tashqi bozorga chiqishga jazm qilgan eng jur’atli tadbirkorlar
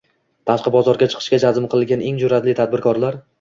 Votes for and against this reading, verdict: 2, 0, accepted